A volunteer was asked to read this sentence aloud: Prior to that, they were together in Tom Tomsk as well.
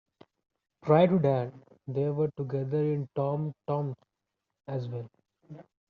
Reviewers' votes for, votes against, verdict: 2, 0, accepted